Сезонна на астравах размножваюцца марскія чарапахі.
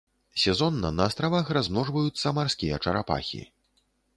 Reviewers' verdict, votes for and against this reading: accepted, 2, 0